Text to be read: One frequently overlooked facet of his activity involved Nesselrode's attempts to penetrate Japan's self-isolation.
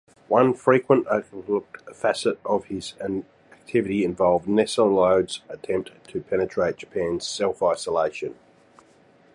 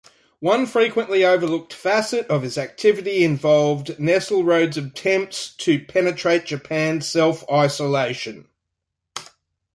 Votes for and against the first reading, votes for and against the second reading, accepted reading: 1, 2, 2, 0, second